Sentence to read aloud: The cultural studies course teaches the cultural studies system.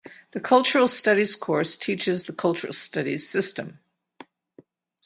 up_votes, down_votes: 0, 4